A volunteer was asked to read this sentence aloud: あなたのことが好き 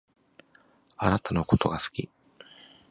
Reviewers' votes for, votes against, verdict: 2, 3, rejected